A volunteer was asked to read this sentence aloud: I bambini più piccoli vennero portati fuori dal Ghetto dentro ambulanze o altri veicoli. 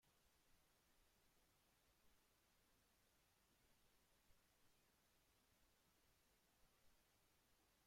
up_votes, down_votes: 0, 2